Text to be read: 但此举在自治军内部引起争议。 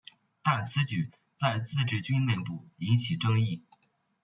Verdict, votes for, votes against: rejected, 1, 2